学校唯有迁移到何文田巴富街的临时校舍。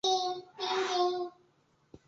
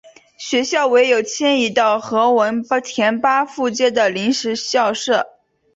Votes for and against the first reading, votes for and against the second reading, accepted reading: 1, 3, 2, 0, second